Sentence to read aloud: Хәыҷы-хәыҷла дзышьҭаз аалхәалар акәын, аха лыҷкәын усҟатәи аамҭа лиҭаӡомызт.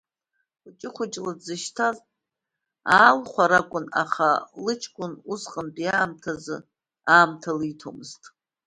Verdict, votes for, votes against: rejected, 1, 2